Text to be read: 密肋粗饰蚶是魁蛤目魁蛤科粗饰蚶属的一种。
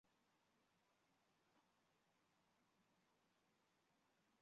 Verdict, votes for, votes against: accepted, 2, 0